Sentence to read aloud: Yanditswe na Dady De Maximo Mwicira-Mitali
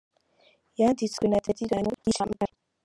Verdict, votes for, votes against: rejected, 0, 2